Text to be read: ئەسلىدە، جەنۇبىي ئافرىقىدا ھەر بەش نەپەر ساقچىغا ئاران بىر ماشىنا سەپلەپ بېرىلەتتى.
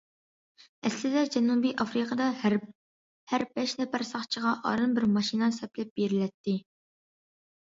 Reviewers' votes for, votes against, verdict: 1, 2, rejected